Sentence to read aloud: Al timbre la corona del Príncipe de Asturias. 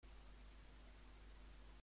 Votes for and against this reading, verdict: 0, 2, rejected